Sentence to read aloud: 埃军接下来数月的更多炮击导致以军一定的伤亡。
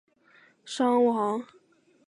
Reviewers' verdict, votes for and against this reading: rejected, 0, 3